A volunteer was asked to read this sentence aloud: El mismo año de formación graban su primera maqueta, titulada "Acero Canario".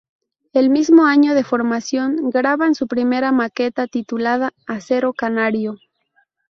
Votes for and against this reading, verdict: 2, 2, rejected